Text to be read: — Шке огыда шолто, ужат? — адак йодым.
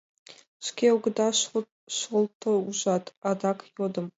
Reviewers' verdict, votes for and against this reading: rejected, 0, 2